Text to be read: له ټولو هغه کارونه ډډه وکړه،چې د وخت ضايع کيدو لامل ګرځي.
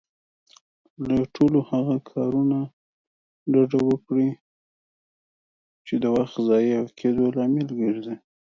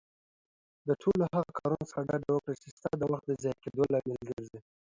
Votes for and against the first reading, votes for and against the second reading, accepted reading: 1, 2, 2, 0, second